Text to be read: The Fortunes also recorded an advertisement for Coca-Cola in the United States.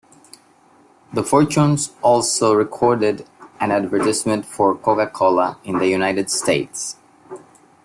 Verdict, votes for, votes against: accepted, 2, 0